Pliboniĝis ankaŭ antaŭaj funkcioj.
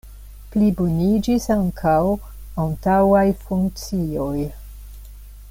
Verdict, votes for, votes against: accepted, 2, 0